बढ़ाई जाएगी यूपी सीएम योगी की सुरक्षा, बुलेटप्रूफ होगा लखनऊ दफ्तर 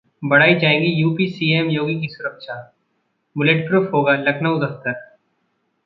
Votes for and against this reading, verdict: 0, 2, rejected